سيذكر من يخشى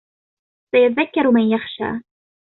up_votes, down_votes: 2, 0